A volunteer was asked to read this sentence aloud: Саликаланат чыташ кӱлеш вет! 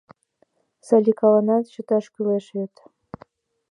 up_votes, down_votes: 2, 0